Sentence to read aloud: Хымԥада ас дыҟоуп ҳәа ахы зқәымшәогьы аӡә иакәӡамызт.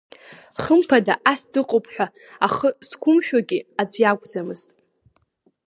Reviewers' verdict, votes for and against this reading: accepted, 2, 0